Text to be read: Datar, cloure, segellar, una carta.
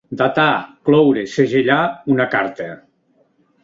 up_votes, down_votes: 0, 2